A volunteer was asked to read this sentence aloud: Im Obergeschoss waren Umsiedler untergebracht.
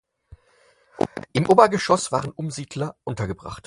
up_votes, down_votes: 4, 0